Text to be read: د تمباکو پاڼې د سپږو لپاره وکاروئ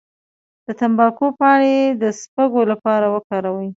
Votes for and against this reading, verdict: 2, 0, accepted